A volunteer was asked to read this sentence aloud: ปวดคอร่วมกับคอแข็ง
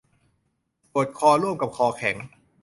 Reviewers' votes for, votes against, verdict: 2, 0, accepted